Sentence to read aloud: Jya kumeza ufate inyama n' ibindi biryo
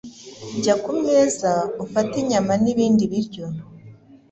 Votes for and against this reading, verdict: 2, 0, accepted